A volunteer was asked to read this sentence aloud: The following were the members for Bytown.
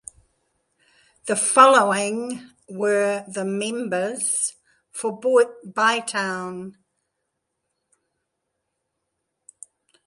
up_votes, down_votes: 1, 2